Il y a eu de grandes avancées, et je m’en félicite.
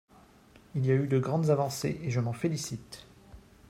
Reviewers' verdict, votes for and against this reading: accepted, 3, 0